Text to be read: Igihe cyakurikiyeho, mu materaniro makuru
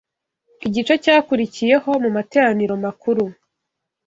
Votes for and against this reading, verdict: 0, 2, rejected